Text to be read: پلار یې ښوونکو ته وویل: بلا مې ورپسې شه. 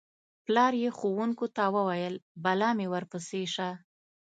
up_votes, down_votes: 2, 0